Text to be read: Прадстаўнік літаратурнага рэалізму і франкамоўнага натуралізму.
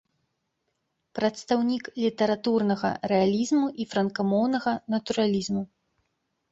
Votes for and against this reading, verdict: 2, 0, accepted